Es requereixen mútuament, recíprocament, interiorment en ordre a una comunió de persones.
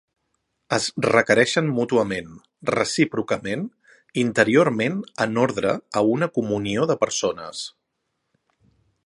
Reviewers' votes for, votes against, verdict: 3, 0, accepted